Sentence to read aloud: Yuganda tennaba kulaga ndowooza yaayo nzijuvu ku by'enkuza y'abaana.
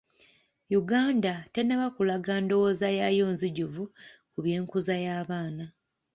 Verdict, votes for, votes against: accepted, 2, 0